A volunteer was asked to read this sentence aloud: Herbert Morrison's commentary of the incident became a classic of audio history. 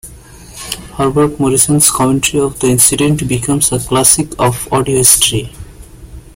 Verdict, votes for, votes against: rejected, 0, 2